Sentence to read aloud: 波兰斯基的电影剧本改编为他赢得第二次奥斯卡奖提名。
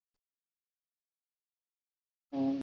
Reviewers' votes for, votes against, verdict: 0, 2, rejected